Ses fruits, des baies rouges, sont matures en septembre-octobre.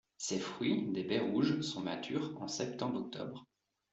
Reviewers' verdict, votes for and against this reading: accepted, 2, 0